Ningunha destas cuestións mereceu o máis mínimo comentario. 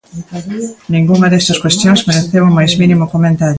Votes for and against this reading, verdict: 0, 2, rejected